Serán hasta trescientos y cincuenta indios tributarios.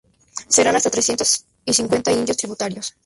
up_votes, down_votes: 0, 2